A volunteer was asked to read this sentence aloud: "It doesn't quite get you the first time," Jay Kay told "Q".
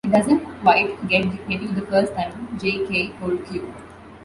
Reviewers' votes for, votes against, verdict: 3, 2, accepted